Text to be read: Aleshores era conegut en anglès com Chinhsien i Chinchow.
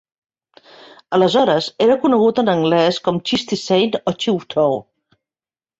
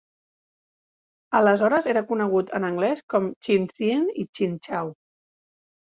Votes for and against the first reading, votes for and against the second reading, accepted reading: 1, 2, 2, 0, second